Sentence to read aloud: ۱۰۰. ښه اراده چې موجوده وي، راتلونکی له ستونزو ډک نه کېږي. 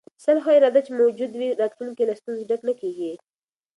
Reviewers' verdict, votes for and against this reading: rejected, 0, 2